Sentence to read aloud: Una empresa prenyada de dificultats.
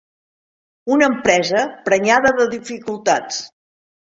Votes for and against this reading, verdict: 4, 0, accepted